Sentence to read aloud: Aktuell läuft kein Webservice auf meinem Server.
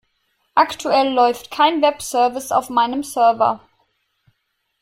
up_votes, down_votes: 3, 0